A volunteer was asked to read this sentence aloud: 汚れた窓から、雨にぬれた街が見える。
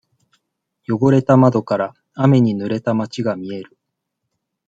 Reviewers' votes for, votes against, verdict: 2, 0, accepted